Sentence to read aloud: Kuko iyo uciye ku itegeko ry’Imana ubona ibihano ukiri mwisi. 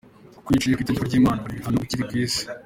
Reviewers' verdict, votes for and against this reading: accepted, 2, 0